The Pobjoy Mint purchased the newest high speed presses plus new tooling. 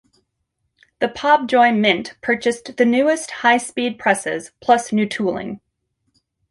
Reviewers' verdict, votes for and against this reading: rejected, 1, 2